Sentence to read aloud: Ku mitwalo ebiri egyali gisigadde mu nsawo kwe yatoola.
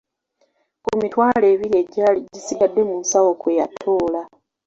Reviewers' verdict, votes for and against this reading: accepted, 2, 0